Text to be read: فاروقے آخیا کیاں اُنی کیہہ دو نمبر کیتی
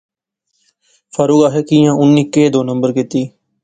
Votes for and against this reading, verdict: 2, 0, accepted